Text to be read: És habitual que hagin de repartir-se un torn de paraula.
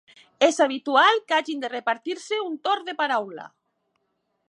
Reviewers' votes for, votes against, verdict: 2, 0, accepted